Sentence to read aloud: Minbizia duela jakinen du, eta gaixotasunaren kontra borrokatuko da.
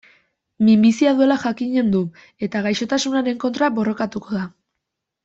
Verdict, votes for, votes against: accepted, 2, 0